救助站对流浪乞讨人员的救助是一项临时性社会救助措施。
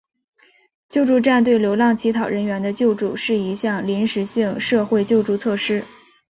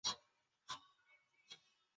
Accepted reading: first